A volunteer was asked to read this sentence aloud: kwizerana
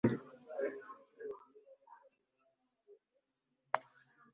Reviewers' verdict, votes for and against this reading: rejected, 0, 2